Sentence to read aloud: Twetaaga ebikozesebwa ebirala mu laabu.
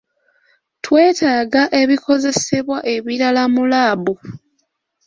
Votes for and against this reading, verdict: 2, 0, accepted